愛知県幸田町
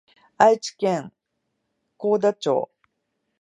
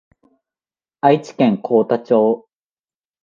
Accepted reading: second